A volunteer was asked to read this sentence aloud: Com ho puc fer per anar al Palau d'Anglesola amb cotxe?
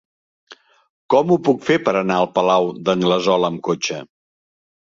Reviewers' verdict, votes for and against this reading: accepted, 3, 0